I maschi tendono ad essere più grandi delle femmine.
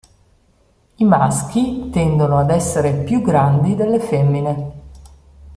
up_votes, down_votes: 2, 0